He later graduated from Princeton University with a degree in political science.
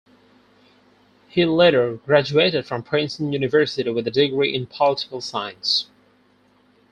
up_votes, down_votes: 4, 0